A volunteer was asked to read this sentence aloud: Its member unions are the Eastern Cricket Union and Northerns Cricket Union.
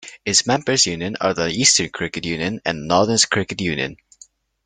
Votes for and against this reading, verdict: 2, 1, accepted